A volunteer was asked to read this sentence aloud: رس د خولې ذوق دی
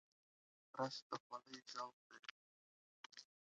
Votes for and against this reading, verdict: 2, 1, accepted